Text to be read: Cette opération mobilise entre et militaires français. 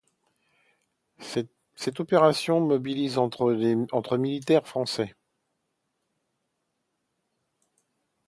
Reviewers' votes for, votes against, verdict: 0, 2, rejected